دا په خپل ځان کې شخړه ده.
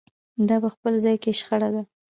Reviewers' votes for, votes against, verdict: 2, 1, accepted